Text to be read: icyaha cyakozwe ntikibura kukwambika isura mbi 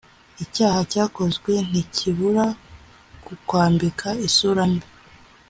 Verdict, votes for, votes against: accepted, 2, 0